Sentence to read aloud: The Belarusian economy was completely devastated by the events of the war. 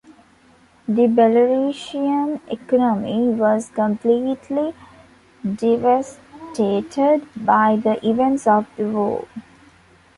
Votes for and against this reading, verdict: 2, 1, accepted